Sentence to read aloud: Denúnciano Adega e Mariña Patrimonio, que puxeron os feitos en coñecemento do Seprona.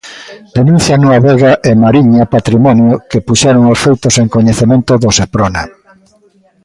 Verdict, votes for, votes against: rejected, 1, 2